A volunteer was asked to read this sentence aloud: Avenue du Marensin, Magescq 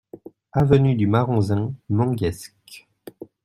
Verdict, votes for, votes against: rejected, 0, 2